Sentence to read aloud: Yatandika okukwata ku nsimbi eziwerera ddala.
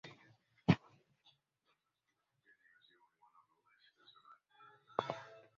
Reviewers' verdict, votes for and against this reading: rejected, 0, 2